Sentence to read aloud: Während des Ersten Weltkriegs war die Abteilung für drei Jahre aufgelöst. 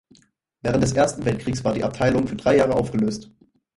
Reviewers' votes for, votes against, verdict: 2, 4, rejected